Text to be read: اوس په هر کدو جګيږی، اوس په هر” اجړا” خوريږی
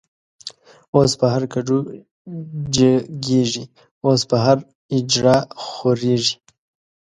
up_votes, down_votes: 1, 3